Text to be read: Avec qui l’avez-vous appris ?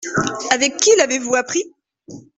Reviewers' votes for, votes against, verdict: 2, 0, accepted